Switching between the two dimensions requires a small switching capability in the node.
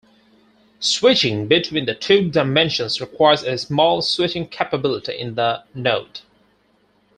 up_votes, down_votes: 4, 0